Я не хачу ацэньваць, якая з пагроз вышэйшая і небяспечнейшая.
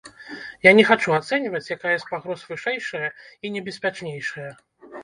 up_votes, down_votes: 0, 2